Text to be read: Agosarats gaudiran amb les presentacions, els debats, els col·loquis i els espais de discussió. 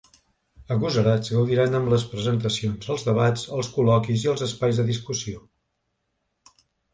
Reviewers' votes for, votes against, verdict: 2, 0, accepted